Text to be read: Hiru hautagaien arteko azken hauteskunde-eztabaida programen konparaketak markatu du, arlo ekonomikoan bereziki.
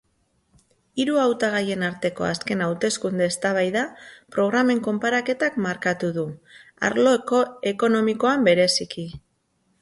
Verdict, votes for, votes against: rejected, 0, 2